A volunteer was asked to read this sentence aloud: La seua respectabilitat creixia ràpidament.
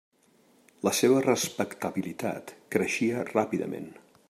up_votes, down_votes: 0, 2